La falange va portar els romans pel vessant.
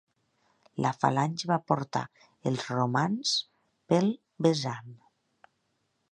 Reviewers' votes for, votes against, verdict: 1, 2, rejected